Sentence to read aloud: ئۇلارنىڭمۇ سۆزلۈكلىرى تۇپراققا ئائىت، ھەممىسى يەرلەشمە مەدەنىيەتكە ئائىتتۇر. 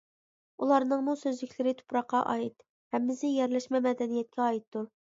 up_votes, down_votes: 2, 0